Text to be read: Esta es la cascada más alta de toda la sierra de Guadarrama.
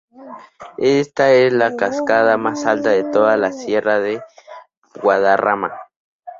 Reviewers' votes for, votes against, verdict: 4, 0, accepted